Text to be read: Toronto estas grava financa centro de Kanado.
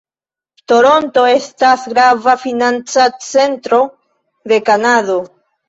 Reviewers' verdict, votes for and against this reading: accepted, 2, 0